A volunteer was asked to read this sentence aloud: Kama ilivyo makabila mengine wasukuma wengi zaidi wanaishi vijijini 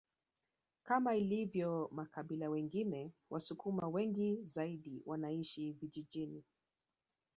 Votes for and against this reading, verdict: 0, 2, rejected